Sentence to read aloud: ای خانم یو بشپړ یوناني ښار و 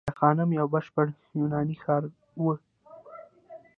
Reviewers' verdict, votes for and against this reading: rejected, 0, 2